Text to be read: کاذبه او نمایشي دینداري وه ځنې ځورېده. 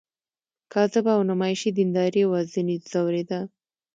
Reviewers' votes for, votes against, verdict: 2, 1, accepted